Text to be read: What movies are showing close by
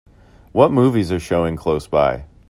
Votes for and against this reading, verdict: 2, 0, accepted